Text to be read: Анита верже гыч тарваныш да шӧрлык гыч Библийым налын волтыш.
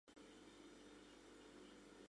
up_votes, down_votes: 0, 2